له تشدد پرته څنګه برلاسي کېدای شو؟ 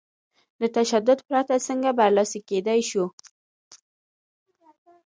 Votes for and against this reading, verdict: 2, 1, accepted